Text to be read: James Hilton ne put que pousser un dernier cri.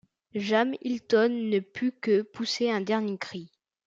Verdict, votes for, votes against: rejected, 0, 2